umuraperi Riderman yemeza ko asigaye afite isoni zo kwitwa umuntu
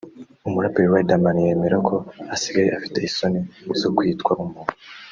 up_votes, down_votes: 0, 2